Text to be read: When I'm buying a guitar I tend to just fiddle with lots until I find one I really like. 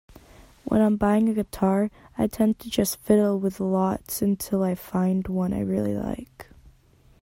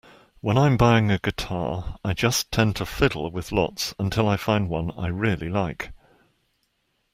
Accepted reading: first